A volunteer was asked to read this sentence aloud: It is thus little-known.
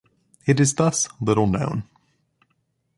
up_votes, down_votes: 2, 0